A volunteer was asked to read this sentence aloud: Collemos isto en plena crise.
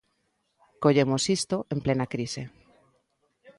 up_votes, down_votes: 2, 0